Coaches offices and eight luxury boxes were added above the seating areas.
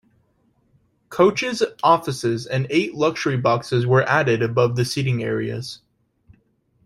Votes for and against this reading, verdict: 2, 0, accepted